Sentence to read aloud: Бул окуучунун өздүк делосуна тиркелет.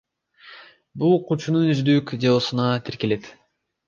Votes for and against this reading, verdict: 2, 1, accepted